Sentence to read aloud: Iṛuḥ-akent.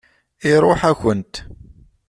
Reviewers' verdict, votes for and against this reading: accepted, 2, 0